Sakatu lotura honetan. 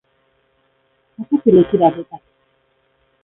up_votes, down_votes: 0, 2